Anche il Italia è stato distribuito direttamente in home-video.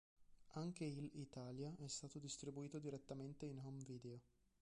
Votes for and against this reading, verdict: 0, 2, rejected